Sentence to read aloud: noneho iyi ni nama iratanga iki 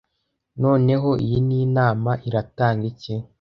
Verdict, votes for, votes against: rejected, 1, 2